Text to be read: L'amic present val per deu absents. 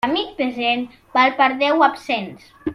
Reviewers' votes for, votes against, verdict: 0, 2, rejected